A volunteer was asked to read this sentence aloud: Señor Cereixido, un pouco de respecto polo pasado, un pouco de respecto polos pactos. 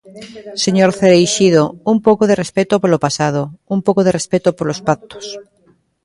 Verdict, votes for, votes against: rejected, 1, 2